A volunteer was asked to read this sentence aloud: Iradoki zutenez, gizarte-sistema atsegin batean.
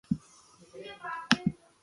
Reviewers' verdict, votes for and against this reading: rejected, 0, 3